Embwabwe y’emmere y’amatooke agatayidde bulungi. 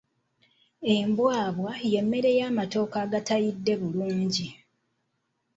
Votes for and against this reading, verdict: 1, 2, rejected